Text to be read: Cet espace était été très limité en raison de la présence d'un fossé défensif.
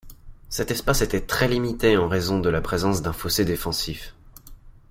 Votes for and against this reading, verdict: 1, 2, rejected